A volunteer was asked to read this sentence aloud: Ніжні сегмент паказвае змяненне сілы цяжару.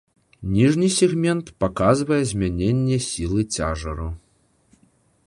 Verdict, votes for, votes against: accepted, 2, 1